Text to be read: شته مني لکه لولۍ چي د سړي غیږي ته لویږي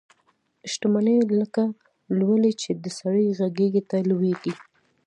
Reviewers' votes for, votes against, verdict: 2, 0, accepted